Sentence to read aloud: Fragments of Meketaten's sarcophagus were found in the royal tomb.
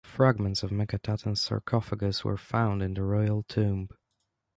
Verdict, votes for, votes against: accepted, 2, 0